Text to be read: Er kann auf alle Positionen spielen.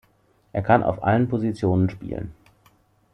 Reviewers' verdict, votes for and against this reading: rejected, 0, 2